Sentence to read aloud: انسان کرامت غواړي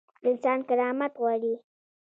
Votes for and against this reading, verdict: 1, 2, rejected